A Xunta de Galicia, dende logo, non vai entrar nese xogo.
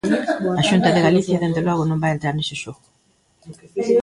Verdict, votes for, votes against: rejected, 0, 2